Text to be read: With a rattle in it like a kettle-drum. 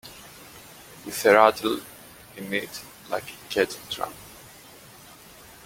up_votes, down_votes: 2, 0